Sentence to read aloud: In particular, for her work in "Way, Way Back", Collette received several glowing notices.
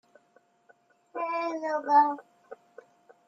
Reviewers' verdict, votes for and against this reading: rejected, 0, 2